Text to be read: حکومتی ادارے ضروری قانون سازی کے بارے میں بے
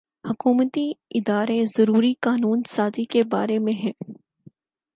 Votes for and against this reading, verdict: 4, 0, accepted